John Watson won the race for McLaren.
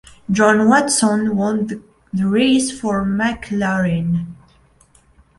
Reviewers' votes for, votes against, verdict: 1, 2, rejected